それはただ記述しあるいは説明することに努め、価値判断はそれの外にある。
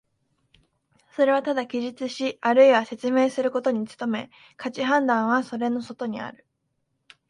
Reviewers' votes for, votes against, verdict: 3, 0, accepted